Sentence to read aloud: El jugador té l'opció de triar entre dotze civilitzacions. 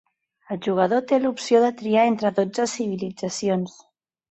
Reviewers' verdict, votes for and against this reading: accepted, 2, 0